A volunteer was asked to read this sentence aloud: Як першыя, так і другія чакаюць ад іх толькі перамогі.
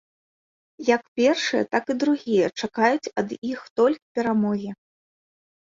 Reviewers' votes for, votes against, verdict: 1, 2, rejected